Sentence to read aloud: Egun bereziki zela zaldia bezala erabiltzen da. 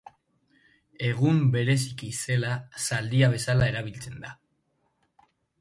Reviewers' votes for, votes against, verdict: 2, 0, accepted